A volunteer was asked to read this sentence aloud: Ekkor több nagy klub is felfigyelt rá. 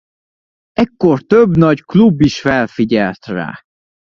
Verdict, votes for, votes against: accepted, 2, 0